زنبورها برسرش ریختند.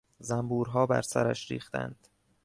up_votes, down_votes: 2, 0